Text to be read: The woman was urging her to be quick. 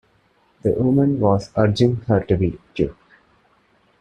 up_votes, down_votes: 0, 2